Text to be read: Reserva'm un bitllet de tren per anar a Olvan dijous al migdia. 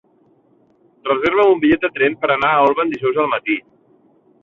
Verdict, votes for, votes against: rejected, 0, 2